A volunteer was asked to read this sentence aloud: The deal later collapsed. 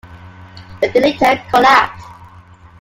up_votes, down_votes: 1, 2